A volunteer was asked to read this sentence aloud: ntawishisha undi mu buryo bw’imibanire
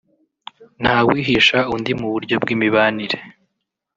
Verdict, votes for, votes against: rejected, 0, 2